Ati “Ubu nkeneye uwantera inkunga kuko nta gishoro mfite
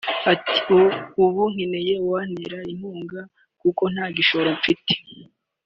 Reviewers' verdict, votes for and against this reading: accepted, 3, 2